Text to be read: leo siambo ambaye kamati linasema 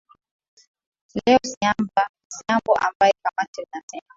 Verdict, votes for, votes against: rejected, 0, 2